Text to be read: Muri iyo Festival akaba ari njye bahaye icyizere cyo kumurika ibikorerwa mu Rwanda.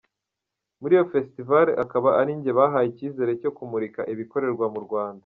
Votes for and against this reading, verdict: 2, 0, accepted